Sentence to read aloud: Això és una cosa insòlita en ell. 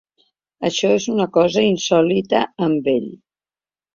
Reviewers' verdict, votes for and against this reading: rejected, 0, 2